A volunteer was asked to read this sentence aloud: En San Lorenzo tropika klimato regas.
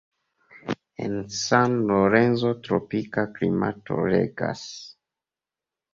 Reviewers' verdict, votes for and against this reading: accepted, 2, 0